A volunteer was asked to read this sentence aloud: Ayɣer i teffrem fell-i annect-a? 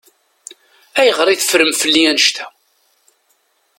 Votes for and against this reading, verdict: 2, 0, accepted